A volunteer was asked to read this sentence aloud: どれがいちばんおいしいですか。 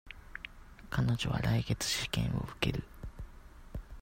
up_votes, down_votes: 0, 2